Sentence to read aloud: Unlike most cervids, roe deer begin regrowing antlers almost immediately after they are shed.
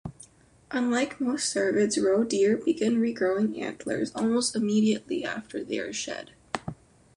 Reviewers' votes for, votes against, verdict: 2, 0, accepted